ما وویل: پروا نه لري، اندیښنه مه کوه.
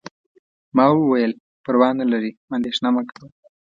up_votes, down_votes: 2, 0